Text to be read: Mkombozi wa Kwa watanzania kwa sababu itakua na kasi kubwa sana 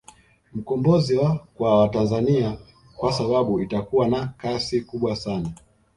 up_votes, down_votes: 2, 0